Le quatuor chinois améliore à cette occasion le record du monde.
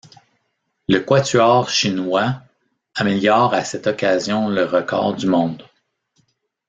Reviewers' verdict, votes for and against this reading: accepted, 2, 0